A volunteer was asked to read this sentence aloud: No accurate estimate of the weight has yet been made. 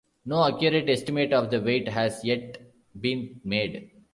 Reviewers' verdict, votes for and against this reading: accepted, 2, 0